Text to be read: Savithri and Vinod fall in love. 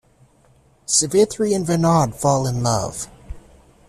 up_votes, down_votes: 2, 1